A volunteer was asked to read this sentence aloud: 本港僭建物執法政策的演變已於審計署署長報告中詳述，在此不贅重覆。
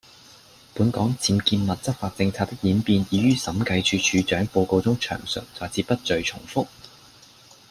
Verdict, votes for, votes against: accepted, 2, 0